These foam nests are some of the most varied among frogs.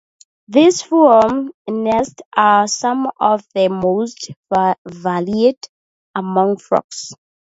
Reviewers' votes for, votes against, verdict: 0, 4, rejected